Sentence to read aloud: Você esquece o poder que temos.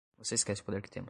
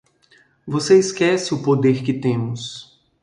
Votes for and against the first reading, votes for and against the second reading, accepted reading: 0, 2, 2, 0, second